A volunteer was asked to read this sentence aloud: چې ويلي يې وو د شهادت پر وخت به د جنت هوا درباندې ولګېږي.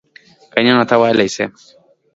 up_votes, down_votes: 1, 2